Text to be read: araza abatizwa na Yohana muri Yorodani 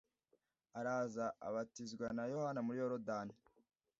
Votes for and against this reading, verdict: 2, 0, accepted